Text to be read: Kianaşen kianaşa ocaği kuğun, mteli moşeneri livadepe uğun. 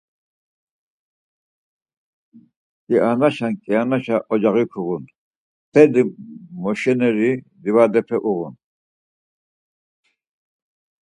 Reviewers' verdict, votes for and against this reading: accepted, 4, 0